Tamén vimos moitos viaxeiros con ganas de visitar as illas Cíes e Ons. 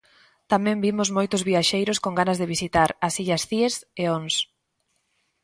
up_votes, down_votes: 2, 0